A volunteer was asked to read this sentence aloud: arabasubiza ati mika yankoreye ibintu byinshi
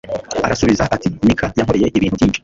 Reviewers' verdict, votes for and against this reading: rejected, 1, 2